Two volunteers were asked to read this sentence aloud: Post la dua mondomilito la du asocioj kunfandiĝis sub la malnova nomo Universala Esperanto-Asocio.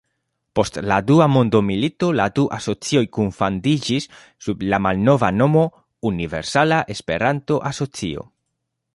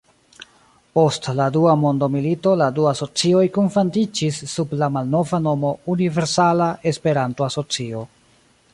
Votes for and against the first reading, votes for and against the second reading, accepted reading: 2, 0, 1, 2, first